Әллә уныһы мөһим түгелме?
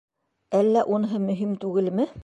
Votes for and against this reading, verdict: 2, 1, accepted